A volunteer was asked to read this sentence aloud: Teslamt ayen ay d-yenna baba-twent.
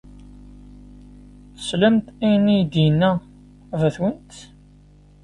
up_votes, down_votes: 1, 2